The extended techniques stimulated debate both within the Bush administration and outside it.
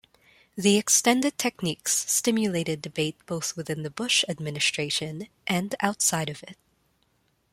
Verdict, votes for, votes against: rejected, 0, 3